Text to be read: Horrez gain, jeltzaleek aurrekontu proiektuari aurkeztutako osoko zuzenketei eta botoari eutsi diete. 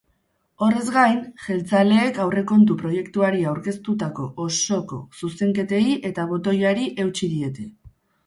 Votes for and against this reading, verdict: 2, 2, rejected